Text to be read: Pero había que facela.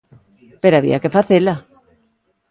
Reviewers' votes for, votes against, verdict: 2, 0, accepted